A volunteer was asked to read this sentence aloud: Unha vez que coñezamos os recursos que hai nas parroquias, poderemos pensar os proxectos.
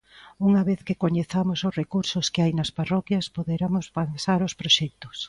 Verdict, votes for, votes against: rejected, 0, 2